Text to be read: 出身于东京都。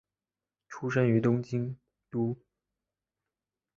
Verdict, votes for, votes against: accepted, 2, 1